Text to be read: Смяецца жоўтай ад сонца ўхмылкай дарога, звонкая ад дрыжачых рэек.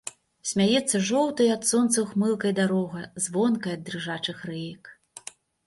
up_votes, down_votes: 2, 0